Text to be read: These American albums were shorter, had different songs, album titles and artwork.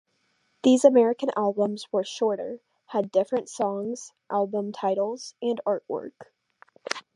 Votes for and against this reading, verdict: 2, 0, accepted